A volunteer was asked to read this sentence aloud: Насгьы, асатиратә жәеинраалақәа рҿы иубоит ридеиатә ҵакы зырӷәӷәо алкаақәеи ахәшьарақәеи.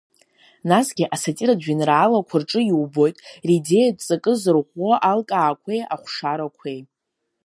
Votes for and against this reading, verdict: 0, 2, rejected